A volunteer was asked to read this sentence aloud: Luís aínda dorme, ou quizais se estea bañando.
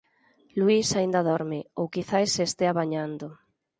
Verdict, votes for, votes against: accepted, 4, 0